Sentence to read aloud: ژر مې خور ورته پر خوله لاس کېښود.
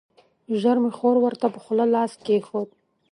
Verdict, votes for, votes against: accepted, 2, 0